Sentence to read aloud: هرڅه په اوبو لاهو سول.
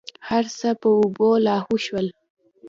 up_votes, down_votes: 2, 0